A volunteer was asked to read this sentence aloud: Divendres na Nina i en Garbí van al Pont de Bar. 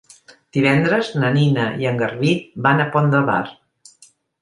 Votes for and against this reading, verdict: 1, 2, rejected